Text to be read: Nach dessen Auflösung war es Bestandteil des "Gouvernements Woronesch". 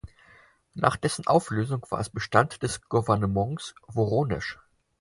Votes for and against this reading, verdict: 0, 4, rejected